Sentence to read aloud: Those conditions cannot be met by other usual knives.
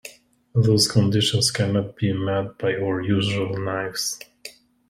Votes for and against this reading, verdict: 2, 1, accepted